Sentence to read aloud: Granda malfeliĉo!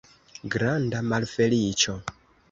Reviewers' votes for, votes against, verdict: 2, 1, accepted